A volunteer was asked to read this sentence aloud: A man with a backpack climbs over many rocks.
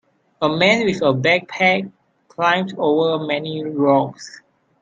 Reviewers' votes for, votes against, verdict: 2, 0, accepted